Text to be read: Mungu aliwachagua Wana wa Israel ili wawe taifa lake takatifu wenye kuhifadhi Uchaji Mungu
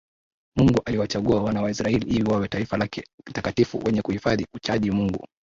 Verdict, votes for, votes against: rejected, 0, 2